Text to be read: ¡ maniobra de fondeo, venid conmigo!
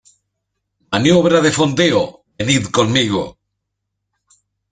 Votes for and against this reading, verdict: 2, 1, accepted